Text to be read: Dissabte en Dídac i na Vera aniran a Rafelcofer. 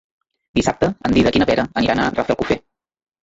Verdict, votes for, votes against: rejected, 0, 2